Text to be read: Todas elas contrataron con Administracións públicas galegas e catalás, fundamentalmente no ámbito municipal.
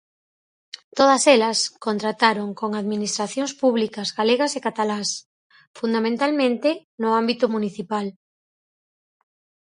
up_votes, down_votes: 2, 2